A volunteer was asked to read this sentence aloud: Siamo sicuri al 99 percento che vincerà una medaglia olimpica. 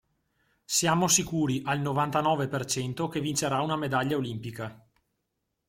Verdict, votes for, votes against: rejected, 0, 2